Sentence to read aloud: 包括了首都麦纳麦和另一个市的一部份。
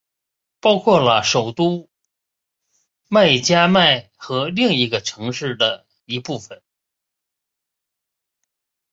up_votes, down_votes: 2, 1